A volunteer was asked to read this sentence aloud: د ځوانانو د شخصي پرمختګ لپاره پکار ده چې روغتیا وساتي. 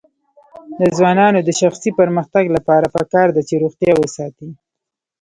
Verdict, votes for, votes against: rejected, 0, 2